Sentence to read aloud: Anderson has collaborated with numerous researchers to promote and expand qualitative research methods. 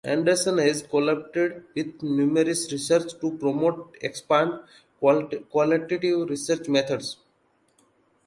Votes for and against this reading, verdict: 1, 2, rejected